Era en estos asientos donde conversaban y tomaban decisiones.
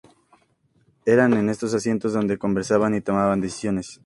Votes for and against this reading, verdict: 2, 0, accepted